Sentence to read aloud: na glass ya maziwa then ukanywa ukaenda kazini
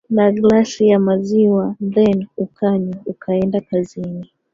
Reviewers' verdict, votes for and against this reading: rejected, 1, 2